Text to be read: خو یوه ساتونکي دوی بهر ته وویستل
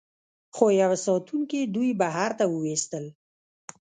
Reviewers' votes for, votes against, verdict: 0, 2, rejected